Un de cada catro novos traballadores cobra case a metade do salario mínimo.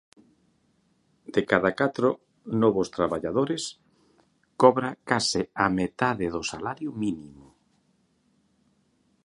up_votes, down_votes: 0, 2